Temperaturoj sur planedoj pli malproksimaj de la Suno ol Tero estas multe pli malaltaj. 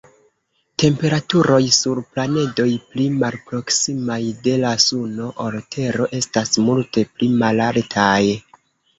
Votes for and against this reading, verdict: 0, 2, rejected